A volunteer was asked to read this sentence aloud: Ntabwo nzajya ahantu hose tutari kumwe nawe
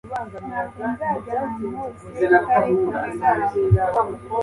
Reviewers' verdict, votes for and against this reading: rejected, 0, 2